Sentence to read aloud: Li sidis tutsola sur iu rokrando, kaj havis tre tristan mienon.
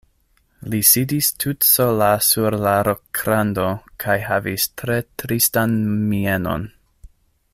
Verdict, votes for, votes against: rejected, 0, 2